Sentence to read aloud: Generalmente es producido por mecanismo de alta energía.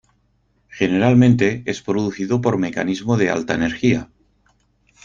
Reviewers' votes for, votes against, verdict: 4, 0, accepted